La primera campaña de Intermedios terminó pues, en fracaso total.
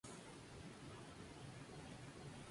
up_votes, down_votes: 0, 2